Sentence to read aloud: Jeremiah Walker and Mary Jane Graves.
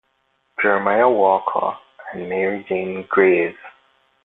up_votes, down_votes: 0, 2